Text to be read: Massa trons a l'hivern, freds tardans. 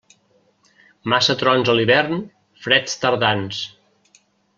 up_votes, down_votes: 3, 0